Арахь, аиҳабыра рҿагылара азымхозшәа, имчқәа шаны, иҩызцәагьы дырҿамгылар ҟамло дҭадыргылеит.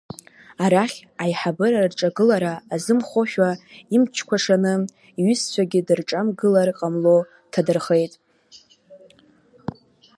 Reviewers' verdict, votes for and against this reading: rejected, 0, 2